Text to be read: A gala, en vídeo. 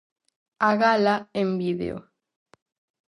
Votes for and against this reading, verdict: 4, 0, accepted